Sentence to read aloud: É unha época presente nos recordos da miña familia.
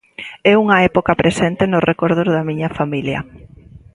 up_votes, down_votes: 2, 0